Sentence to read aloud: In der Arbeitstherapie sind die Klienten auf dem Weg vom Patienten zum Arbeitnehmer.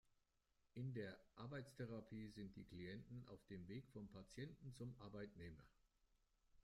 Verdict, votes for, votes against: accepted, 2, 1